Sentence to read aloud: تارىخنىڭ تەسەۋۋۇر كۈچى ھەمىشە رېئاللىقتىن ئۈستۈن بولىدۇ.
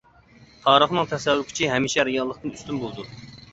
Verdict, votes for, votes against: accepted, 2, 1